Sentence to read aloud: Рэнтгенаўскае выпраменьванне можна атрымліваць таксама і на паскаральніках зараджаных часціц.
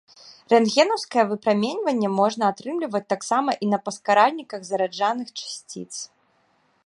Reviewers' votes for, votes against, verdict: 0, 2, rejected